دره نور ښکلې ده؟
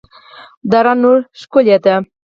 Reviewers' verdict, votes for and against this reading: rejected, 2, 4